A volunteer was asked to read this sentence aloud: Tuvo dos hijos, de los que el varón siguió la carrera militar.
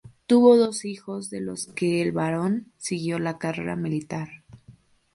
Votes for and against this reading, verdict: 2, 0, accepted